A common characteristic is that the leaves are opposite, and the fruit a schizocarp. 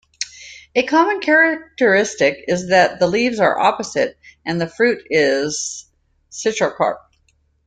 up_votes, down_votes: 1, 2